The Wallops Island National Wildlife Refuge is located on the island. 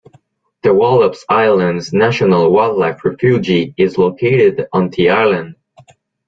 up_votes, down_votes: 1, 2